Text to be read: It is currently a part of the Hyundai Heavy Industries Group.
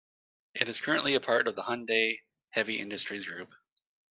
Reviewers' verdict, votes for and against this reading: accepted, 2, 0